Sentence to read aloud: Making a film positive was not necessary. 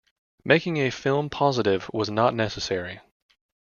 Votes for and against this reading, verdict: 2, 0, accepted